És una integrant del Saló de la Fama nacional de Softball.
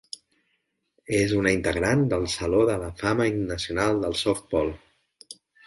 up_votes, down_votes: 1, 3